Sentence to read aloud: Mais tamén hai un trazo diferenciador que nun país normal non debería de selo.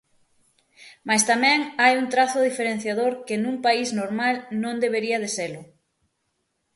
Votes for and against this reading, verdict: 6, 0, accepted